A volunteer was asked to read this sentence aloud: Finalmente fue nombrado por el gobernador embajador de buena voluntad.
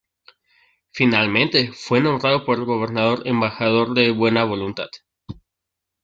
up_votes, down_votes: 2, 0